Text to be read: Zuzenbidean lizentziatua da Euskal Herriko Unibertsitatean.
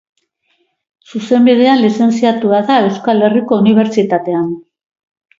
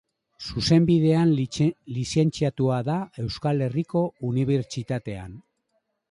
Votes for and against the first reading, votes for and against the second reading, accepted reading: 3, 1, 1, 3, first